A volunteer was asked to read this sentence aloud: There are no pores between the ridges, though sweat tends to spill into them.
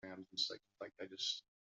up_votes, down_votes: 0, 3